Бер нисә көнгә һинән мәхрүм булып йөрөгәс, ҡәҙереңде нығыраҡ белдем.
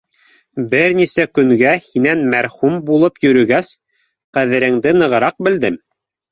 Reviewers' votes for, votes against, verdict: 0, 2, rejected